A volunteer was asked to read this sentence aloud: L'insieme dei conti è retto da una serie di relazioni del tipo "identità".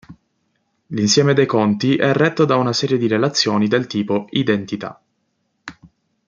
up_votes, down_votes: 2, 0